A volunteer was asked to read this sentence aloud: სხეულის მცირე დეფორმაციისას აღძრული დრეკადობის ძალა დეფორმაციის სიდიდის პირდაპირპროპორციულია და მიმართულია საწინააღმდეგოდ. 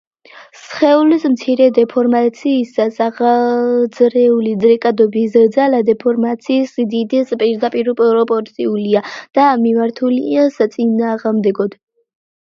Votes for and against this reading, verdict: 1, 2, rejected